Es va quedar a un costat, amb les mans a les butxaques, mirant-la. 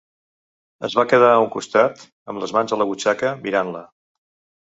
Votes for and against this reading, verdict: 0, 2, rejected